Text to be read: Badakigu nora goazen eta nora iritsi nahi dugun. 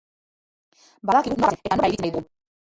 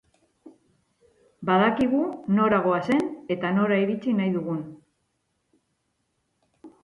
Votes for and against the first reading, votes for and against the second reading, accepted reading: 0, 2, 4, 0, second